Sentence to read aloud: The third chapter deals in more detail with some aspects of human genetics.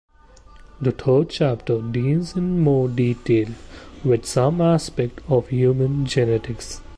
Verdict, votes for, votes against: rejected, 0, 2